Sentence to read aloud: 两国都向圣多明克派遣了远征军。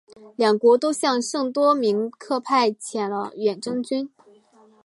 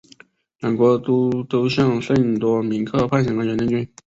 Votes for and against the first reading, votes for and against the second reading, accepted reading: 2, 0, 0, 2, first